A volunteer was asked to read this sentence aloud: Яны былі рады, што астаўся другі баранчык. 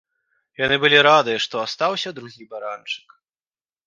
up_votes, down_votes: 2, 0